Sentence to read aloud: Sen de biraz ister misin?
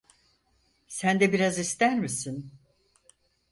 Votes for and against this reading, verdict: 4, 0, accepted